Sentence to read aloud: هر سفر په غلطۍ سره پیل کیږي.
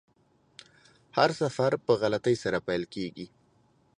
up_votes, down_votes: 2, 0